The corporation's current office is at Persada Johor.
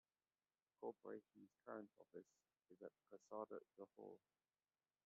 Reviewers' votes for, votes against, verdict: 0, 2, rejected